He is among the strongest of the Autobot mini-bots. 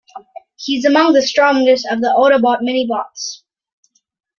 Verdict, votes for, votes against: accepted, 2, 0